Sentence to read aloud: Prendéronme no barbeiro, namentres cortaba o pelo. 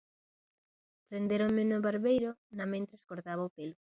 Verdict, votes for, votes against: accepted, 2, 1